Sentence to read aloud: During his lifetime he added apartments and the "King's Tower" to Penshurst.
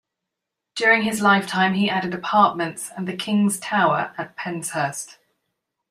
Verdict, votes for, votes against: rejected, 0, 2